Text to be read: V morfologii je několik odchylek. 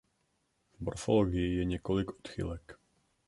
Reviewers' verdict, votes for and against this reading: rejected, 0, 2